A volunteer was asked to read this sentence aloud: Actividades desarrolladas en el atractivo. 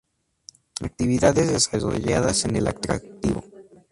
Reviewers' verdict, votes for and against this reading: accepted, 2, 0